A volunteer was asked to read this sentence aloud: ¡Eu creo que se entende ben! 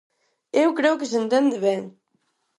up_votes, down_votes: 4, 0